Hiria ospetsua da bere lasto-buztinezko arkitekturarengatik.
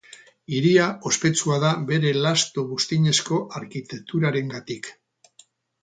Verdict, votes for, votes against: accepted, 2, 0